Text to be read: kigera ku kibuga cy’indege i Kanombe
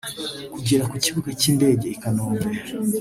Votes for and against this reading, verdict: 2, 0, accepted